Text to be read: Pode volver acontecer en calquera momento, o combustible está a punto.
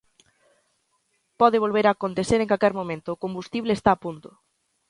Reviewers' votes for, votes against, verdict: 1, 2, rejected